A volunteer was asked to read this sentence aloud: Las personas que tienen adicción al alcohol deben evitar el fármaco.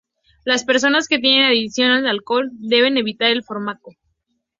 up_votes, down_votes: 0, 2